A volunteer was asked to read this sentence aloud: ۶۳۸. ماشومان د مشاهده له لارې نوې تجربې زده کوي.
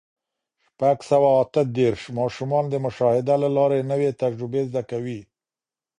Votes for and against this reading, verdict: 0, 2, rejected